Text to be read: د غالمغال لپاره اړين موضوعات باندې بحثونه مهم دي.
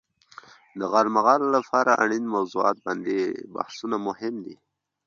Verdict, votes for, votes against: accepted, 2, 0